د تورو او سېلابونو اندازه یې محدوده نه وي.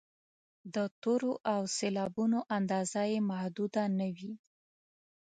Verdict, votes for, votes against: accepted, 2, 0